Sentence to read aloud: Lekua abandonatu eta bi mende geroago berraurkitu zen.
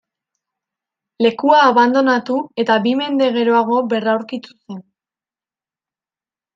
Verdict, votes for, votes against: rejected, 0, 2